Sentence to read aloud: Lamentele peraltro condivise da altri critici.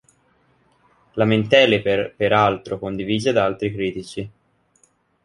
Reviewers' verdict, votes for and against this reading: rejected, 0, 2